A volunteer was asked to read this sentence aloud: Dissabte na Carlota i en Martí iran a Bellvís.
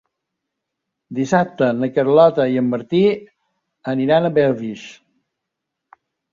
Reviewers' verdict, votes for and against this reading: rejected, 0, 3